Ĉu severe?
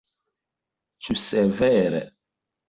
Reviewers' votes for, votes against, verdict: 2, 0, accepted